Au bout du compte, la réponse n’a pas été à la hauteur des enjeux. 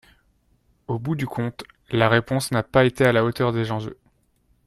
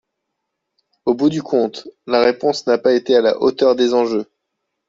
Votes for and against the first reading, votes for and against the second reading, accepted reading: 1, 2, 2, 0, second